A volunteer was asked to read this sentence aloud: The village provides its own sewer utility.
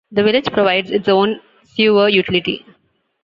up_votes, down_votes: 2, 0